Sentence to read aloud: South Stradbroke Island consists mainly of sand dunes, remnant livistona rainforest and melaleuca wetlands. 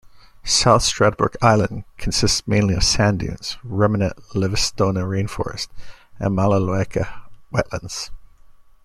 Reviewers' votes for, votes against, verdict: 1, 2, rejected